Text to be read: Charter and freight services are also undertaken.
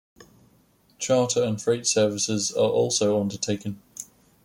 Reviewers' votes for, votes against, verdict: 2, 0, accepted